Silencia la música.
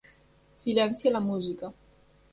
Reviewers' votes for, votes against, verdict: 1, 2, rejected